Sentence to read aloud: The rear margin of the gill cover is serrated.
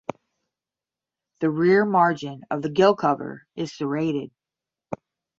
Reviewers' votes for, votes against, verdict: 10, 5, accepted